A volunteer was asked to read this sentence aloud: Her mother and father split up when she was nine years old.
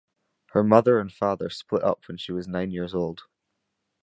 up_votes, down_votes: 2, 0